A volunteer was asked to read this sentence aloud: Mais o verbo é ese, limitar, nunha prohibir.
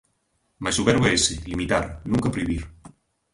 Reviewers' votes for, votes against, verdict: 1, 2, rejected